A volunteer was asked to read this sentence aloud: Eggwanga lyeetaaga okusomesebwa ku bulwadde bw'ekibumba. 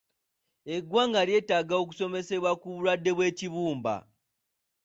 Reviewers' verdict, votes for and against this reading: accepted, 2, 0